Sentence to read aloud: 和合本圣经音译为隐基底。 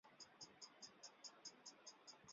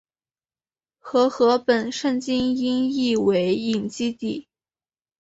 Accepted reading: second